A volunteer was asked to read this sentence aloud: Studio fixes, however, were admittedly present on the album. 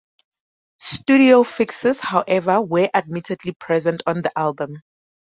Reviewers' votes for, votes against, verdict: 2, 0, accepted